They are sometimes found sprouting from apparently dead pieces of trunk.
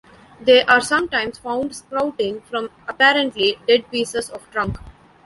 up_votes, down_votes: 1, 2